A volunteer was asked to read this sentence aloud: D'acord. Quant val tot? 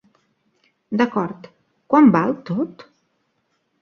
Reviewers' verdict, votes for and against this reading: accepted, 2, 0